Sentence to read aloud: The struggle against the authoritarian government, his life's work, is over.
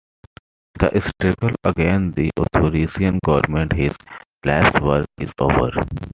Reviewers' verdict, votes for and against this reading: accepted, 2, 1